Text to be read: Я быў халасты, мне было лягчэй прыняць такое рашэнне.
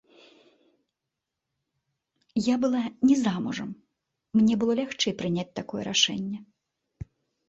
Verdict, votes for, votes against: rejected, 1, 2